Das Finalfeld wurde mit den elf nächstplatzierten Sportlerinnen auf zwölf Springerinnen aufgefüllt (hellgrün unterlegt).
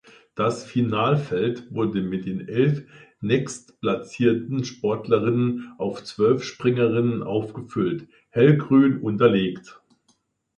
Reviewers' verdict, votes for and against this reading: accepted, 2, 0